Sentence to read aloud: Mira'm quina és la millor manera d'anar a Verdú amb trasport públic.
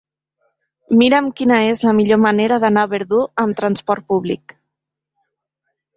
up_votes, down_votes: 2, 0